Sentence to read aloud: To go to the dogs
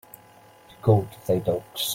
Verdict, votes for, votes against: rejected, 1, 2